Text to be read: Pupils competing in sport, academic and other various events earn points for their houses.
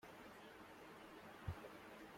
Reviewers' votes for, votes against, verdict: 0, 2, rejected